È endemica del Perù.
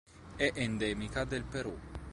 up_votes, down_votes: 2, 0